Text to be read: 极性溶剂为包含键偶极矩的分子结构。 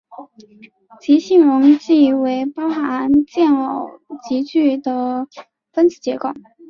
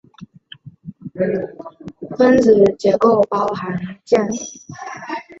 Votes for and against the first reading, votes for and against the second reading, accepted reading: 2, 0, 0, 2, first